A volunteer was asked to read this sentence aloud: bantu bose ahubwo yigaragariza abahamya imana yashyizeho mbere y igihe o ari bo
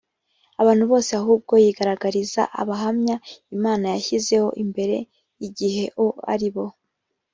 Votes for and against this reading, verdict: 0, 2, rejected